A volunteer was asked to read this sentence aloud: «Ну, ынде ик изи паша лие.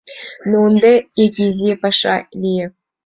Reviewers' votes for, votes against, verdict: 2, 0, accepted